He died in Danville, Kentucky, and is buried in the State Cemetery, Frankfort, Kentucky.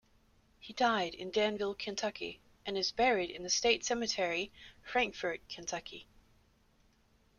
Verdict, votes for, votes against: accepted, 2, 0